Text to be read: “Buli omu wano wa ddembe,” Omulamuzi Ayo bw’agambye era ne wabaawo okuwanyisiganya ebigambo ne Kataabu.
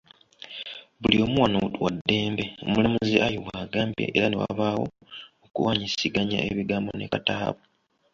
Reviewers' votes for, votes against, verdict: 2, 1, accepted